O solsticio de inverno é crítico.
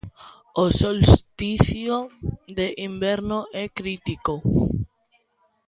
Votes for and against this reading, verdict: 2, 0, accepted